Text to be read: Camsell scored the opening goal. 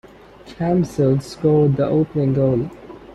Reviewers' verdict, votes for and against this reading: accepted, 2, 0